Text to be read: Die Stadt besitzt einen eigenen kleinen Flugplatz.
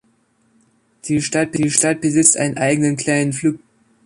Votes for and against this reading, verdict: 0, 2, rejected